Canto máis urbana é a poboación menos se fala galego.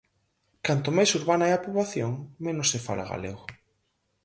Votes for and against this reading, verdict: 6, 0, accepted